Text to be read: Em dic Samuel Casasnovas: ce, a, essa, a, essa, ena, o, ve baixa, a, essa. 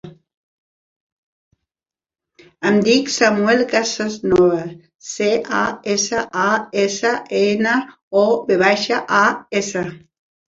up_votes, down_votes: 1, 3